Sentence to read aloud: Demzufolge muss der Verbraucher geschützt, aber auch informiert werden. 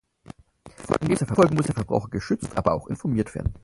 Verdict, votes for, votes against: rejected, 0, 4